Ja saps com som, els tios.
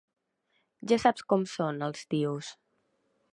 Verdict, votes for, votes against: rejected, 0, 2